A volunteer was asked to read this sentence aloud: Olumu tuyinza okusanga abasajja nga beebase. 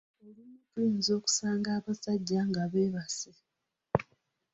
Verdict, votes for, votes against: accepted, 2, 0